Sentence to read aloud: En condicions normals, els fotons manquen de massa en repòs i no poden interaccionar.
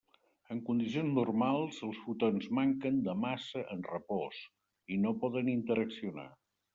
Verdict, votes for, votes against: accepted, 2, 0